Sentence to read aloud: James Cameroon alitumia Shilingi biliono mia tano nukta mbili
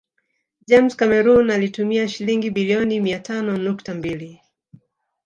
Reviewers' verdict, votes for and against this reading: accepted, 2, 0